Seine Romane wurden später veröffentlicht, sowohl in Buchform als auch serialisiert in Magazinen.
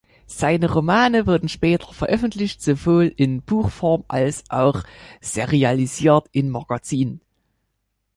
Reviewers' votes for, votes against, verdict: 2, 0, accepted